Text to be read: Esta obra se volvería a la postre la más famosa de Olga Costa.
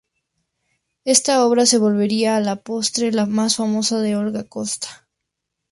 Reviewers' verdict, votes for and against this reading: accepted, 2, 0